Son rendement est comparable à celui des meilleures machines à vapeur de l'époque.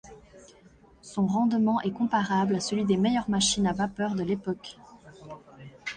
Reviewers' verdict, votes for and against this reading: accepted, 2, 0